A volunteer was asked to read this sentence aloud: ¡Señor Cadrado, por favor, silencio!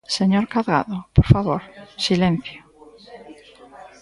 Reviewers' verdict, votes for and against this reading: rejected, 0, 2